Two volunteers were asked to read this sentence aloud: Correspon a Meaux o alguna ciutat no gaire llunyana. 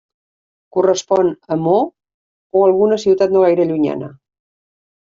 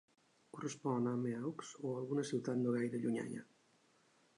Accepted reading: first